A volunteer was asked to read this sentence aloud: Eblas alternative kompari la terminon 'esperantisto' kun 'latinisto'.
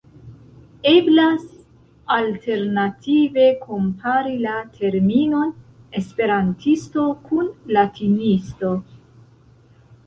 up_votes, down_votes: 2, 0